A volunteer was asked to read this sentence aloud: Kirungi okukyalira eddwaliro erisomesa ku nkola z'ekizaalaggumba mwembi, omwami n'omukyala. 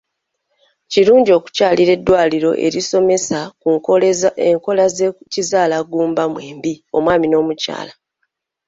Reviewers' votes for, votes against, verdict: 1, 2, rejected